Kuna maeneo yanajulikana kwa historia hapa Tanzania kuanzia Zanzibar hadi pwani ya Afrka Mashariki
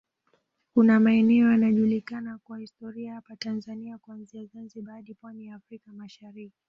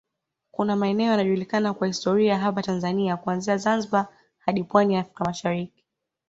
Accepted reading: second